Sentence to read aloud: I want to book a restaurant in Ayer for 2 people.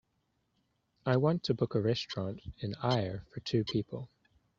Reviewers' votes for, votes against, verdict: 0, 2, rejected